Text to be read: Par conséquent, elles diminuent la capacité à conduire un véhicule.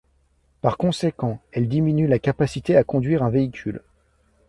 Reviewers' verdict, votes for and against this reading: accepted, 2, 0